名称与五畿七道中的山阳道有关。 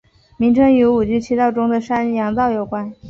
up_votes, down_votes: 2, 0